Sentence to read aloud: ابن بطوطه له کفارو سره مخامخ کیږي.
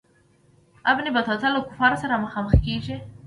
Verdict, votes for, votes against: rejected, 0, 2